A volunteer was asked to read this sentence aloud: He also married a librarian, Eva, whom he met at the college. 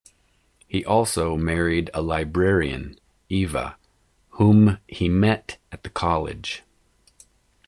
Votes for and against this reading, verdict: 2, 0, accepted